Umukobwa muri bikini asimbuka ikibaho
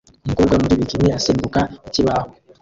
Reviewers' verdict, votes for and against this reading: rejected, 1, 2